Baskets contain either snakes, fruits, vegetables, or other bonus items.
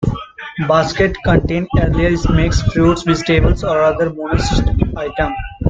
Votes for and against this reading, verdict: 0, 2, rejected